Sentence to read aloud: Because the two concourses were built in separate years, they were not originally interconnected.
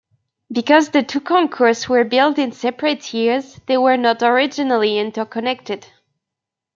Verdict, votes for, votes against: rejected, 0, 2